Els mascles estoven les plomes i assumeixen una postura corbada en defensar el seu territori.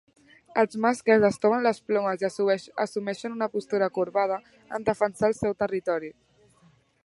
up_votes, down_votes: 0, 3